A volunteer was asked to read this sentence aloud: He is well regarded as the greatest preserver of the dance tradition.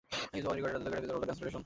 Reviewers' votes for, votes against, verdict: 0, 2, rejected